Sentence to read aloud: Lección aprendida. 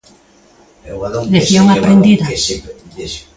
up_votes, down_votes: 1, 2